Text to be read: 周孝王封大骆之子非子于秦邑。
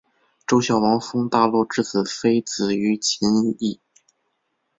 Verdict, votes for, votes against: accepted, 2, 0